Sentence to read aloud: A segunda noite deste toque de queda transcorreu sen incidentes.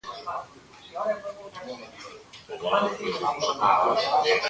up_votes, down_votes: 0, 3